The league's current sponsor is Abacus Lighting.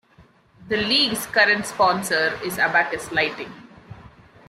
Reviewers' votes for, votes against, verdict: 2, 0, accepted